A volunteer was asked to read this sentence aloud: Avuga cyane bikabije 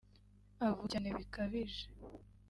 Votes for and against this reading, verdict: 1, 2, rejected